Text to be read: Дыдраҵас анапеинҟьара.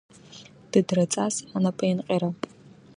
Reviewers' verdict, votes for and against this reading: accepted, 2, 0